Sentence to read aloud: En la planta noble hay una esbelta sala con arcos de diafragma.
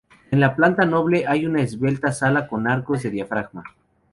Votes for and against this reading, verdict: 0, 2, rejected